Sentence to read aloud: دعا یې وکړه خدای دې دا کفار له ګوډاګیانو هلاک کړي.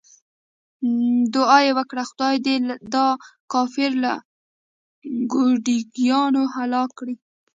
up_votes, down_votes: 1, 2